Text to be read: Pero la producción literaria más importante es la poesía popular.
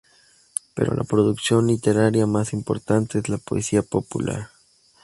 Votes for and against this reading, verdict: 2, 2, rejected